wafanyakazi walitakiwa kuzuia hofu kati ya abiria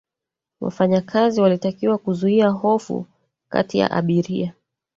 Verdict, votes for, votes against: rejected, 1, 2